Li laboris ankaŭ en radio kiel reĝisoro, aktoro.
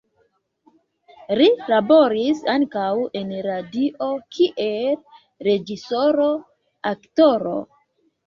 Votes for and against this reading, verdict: 0, 2, rejected